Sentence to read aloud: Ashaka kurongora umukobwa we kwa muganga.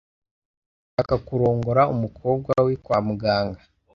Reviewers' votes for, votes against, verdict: 0, 2, rejected